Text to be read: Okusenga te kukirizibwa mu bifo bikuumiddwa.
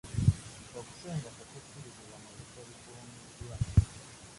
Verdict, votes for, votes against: rejected, 0, 2